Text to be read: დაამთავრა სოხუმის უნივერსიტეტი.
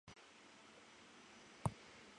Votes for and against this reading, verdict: 0, 2, rejected